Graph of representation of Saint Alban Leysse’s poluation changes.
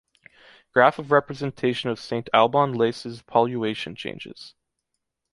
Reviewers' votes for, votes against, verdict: 2, 0, accepted